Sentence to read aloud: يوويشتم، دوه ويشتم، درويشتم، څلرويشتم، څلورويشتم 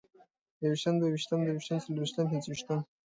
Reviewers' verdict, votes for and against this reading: accepted, 2, 0